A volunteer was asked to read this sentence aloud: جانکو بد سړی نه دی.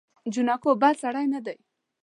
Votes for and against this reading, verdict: 1, 2, rejected